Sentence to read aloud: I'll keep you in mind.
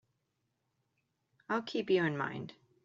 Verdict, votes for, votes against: accepted, 2, 0